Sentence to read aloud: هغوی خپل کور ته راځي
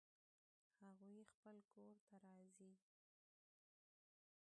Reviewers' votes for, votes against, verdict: 1, 2, rejected